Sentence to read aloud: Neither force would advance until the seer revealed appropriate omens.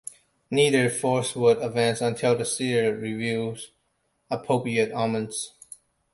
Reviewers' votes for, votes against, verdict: 2, 0, accepted